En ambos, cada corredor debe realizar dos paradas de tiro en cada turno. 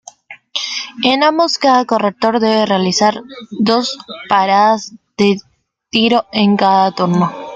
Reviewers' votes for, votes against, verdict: 0, 2, rejected